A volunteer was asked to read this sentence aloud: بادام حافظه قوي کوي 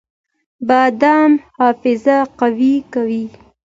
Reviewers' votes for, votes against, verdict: 2, 0, accepted